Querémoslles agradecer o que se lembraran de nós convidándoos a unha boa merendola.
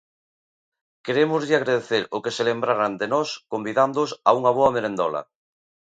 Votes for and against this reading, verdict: 0, 2, rejected